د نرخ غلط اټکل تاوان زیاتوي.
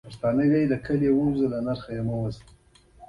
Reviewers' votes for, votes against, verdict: 3, 1, accepted